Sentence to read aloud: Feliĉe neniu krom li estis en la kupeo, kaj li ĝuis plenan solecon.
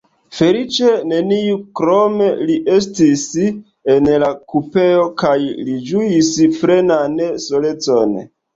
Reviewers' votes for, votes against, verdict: 1, 3, rejected